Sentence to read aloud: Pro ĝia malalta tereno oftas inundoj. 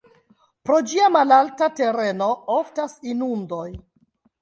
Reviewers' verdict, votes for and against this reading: rejected, 1, 4